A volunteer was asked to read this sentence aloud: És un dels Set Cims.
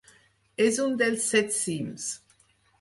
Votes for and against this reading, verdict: 4, 0, accepted